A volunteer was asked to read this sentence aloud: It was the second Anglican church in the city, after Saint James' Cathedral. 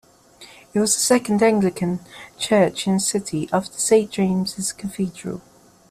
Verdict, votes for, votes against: accepted, 2, 0